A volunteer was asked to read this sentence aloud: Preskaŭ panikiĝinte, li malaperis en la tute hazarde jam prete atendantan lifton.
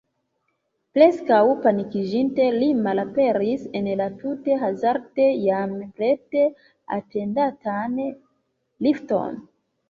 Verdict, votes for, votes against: accepted, 2, 1